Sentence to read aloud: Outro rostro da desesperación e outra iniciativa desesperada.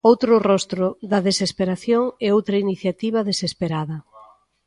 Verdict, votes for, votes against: rejected, 1, 2